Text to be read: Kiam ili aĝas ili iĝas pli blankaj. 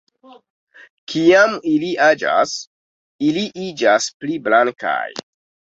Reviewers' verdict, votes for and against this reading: accepted, 2, 0